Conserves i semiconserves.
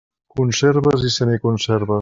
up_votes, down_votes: 1, 2